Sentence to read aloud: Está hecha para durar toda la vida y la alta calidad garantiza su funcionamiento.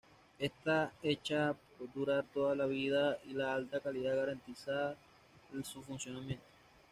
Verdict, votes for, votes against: rejected, 1, 2